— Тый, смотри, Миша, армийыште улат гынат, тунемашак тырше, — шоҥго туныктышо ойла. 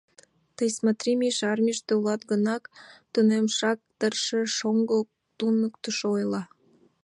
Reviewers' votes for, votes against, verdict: 1, 2, rejected